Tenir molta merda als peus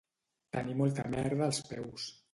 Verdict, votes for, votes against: accepted, 2, 0